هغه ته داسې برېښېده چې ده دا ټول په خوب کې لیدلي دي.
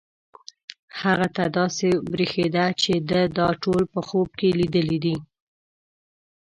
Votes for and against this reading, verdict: 0, 2, rejected